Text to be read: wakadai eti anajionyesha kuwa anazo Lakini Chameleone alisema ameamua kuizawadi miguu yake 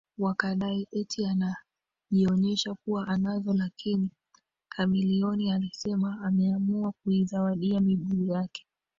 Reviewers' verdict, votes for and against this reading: accepted, 2, 0